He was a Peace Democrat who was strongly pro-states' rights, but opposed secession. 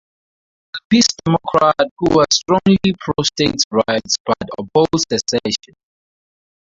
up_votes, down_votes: 4, 2